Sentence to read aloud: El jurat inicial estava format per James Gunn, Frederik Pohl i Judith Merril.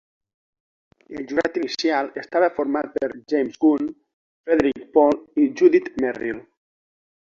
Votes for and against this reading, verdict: 2, 0, accepted